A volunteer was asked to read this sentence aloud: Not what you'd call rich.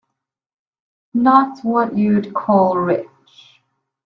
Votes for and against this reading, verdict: 1, 2, rejected